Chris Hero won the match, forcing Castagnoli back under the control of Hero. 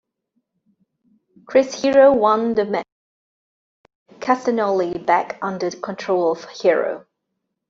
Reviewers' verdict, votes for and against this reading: rejected, 0, 2